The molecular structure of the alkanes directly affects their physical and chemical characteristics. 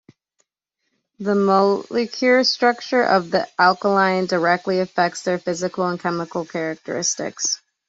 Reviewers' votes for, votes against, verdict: 1, 2, rejected